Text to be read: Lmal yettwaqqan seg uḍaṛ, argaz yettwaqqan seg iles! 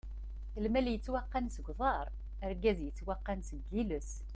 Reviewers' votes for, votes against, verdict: 2, 0, accepted